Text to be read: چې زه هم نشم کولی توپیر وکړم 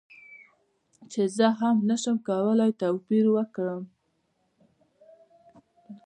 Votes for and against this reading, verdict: 1, 2, rejected